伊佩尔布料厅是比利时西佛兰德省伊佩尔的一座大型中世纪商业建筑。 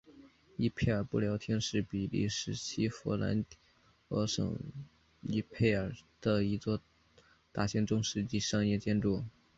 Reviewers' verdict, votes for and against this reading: accepted, 2, 1